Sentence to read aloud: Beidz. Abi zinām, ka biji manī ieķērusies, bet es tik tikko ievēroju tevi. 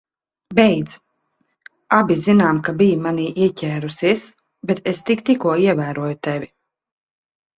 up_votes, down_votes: 4, 0